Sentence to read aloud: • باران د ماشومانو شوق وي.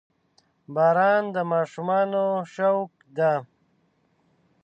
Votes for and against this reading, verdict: 0, 2, rejected